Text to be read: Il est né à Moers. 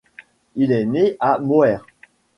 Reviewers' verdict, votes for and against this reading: accepted, 2, 1